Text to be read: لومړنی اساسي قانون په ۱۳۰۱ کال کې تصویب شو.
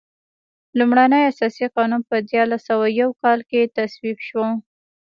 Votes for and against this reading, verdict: 0, 2, rejected